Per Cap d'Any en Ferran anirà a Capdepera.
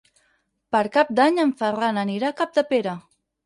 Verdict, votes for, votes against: accepted, 4, 0